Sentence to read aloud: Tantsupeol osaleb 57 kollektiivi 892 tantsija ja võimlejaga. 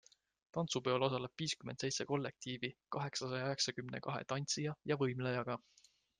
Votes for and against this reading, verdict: 0, 2, rejected